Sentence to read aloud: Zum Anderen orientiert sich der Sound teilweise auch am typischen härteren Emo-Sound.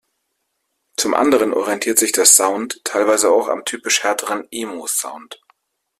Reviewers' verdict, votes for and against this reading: rejected, 1, 3